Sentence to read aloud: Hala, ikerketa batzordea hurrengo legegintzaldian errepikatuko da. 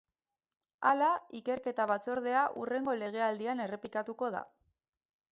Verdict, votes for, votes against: rejected, 2, 4